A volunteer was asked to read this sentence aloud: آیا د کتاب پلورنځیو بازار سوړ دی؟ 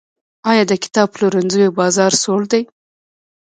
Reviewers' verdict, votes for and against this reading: rejected, 0, 2